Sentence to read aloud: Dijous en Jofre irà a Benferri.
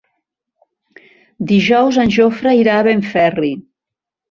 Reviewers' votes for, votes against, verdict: 2, 0, accepted